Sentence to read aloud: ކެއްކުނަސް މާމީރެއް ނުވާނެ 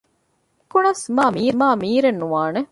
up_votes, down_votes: 0, 2